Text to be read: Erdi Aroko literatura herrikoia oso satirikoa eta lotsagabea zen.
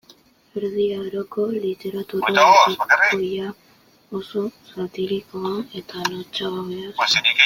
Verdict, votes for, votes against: rejected, 0, 2